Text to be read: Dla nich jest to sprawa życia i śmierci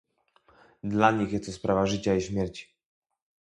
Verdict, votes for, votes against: rejected, 0, 2